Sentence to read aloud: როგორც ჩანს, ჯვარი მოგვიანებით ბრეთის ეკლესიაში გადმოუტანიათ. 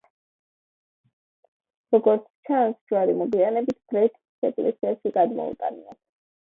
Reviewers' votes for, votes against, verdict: 2, 0, accepted